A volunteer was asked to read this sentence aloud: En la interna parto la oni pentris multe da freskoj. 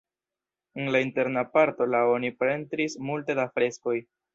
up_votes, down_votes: 0, 2